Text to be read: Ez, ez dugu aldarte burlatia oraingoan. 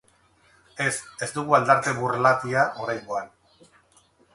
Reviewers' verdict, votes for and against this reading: rejected, 2, 2